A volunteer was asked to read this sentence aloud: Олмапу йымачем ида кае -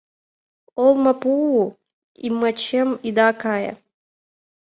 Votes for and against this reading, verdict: 2, 1, accepted